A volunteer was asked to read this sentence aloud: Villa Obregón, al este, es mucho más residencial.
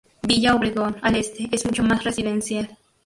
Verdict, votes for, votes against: rejected, 0, 2